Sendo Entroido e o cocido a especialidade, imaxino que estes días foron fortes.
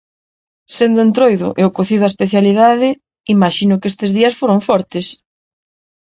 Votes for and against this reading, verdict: 4, 0, accepted